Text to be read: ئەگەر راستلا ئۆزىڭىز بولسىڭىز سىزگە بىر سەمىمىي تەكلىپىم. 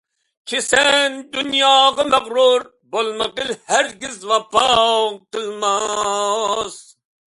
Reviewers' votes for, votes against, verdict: 0, 2, rejected